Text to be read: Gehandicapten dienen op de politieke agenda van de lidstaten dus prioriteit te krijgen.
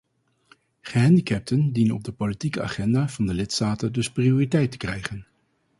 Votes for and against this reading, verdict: 4, 0, accepted